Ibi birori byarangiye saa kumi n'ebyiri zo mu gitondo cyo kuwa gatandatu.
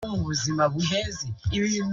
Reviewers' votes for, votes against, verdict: 0, 2, rejected